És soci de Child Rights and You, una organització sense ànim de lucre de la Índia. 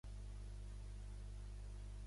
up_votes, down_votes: 0, 2